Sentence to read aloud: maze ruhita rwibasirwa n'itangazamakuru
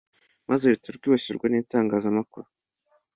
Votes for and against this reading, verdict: 2, 0, accepted